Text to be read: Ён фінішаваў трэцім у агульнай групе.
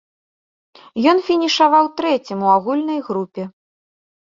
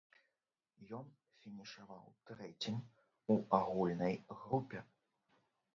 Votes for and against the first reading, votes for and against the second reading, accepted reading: 2, 0, 0, 2, first